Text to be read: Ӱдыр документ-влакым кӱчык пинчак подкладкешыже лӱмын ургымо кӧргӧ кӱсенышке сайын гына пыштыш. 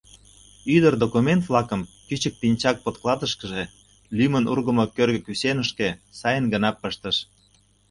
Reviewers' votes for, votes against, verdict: 0, 2, rejected